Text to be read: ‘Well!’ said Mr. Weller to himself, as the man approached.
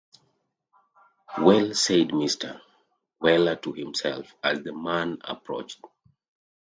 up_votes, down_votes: 2, 0